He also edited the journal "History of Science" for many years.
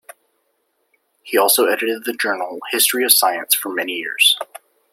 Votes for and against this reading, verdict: 2, 0, accepted